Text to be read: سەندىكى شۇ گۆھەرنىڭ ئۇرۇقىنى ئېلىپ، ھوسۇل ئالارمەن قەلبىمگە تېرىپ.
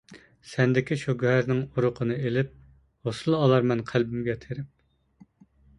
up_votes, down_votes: 2, 1